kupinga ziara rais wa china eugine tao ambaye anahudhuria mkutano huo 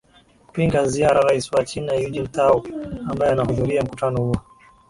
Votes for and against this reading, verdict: 2, 0, accepted